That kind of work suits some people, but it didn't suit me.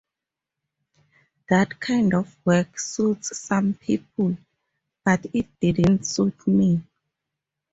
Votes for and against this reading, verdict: 2, 0, accepted